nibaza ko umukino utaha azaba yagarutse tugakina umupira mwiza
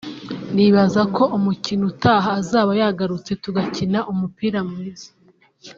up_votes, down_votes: 2, 0